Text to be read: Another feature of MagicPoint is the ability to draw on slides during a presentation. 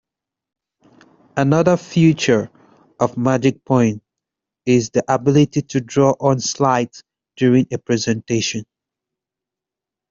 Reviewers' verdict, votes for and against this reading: rejected, 1, 2